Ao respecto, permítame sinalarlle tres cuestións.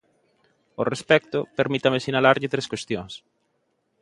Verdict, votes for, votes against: accepted, 2, 0